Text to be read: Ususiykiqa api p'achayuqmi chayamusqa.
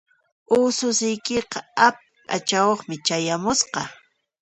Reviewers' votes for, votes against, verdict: 2, 0, accepted